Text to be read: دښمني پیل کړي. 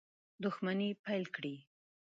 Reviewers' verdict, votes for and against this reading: accepted, 2, 0